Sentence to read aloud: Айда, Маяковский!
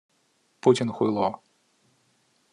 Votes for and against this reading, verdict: 0, 2, rejected